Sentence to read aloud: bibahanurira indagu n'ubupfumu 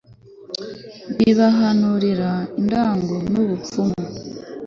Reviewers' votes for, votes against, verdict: 3, 0, accepted